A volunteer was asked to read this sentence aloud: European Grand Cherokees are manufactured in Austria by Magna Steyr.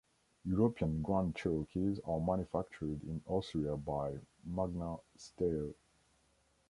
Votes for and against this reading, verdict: 2, 0, accepted